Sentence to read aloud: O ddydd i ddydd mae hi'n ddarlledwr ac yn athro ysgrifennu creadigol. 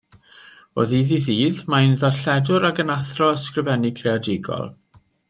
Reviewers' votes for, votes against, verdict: 2, 1, accepted